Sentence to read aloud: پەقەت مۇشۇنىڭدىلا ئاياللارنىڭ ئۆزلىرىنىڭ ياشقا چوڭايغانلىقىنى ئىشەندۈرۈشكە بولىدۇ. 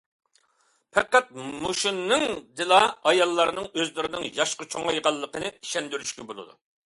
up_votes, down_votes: 2, 0